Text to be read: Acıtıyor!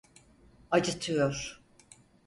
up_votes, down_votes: 4, 0